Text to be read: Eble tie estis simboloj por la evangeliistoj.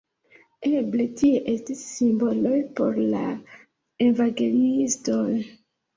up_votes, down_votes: 0, 2